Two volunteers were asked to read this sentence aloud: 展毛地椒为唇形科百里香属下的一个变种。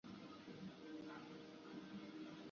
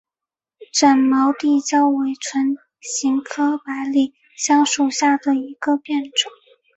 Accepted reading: second